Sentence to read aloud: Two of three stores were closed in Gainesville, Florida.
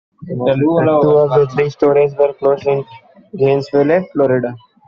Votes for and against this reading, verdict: 1, 2, rejected